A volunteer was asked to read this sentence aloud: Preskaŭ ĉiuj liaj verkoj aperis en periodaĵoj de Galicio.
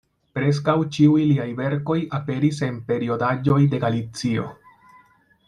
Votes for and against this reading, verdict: 2, 0, accepted